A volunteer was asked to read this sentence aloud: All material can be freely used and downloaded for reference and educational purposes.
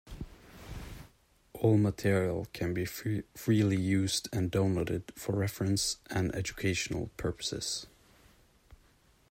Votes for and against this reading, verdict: 1, 2, rejected